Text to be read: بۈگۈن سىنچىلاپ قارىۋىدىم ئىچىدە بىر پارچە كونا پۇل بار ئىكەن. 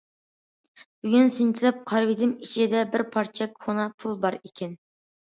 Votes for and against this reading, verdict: 2, 0, accepted